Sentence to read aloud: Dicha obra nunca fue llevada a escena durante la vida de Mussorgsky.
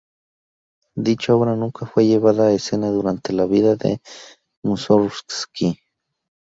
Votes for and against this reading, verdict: 2, 2, rejected